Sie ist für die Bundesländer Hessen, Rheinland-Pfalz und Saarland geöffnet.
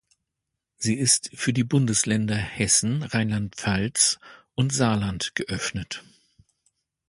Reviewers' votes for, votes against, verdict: 2, 0, accepted